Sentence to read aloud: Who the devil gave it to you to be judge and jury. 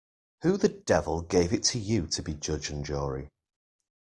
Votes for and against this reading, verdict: 2, 0, accepted